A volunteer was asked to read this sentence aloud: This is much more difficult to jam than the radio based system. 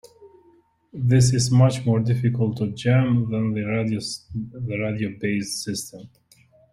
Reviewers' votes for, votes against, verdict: 0, 2, rejected